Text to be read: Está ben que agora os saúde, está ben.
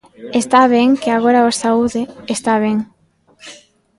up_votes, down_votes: 1, 2